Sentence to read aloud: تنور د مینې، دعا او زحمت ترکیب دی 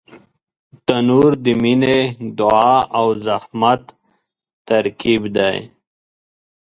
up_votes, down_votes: 2, 0